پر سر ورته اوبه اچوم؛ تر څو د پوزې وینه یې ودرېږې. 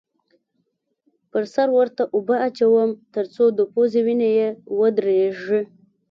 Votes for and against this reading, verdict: 1, 2, rejected